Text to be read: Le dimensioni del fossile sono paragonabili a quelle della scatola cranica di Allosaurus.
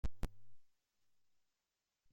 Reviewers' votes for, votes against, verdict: 0, 2, rejected